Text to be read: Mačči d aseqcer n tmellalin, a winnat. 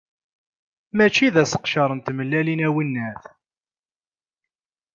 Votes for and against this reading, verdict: 2, 0, accepted